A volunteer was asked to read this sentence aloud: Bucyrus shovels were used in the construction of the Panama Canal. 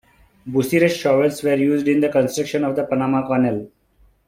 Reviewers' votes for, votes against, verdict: 2, 0, accepted